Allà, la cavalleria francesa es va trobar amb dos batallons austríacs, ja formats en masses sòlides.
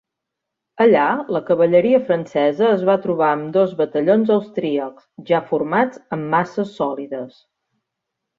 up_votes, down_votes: 3, 0